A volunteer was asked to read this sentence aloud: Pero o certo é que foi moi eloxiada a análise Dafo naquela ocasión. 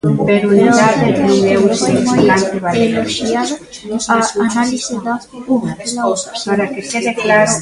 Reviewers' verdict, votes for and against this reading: rejected, 0, 4